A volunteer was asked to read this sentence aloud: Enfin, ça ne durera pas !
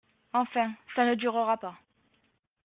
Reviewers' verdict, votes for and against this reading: accepted, 2, 0